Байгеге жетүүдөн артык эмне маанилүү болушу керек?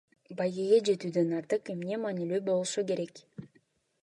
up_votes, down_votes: 2, 0